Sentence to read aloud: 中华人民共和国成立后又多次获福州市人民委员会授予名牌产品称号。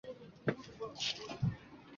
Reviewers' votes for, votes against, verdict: 0, 2, rejected